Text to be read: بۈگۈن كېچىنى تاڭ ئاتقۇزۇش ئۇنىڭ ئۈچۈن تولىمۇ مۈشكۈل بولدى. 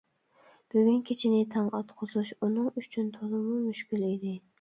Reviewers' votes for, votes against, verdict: 1, 2, rejected